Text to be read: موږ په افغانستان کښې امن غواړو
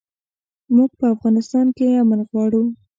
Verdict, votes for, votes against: rejected, 1, 2